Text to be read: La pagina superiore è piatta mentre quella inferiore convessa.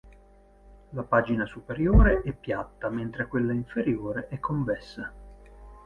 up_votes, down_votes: 2, 4